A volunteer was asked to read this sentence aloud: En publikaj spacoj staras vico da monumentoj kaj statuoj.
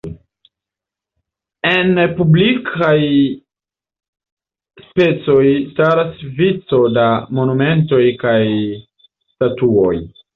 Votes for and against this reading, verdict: 1, 2, rejected